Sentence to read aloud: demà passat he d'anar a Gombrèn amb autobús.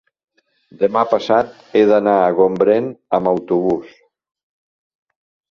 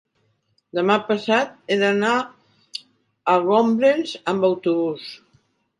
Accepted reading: first